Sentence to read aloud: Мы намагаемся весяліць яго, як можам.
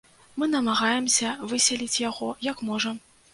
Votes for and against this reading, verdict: 0, 2, rejected